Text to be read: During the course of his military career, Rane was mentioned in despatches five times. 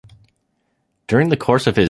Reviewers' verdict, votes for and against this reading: rejected, 0, 2